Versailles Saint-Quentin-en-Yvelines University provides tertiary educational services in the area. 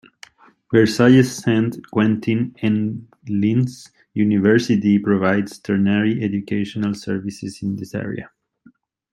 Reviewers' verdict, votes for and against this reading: rejected, 0, 2